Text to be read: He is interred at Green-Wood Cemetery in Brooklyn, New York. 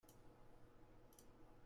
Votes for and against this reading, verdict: 0, 2, rejected